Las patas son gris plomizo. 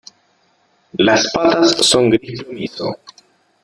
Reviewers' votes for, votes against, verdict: 0, 2, rejected